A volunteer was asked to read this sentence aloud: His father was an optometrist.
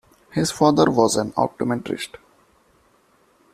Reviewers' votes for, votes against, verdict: 0, 2, rejected